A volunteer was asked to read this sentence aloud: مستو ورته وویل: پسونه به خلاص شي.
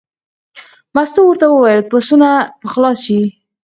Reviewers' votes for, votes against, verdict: 0, 4, rejected